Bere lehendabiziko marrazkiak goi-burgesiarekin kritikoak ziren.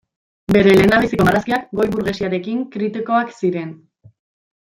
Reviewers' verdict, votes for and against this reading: rejected, 0, 2